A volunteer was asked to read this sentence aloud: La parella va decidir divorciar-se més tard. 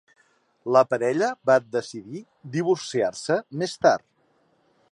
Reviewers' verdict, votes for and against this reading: accepted, 3, 0